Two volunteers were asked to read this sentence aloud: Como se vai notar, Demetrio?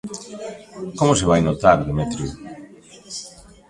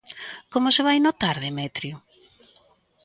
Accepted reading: second